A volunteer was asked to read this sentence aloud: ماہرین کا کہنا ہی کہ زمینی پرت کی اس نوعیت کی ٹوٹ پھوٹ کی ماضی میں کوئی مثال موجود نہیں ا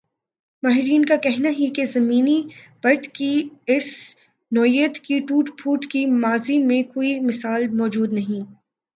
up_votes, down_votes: 3, 1